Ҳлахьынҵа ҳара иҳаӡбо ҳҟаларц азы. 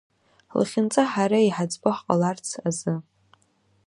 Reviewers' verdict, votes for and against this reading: accepted, 2, 1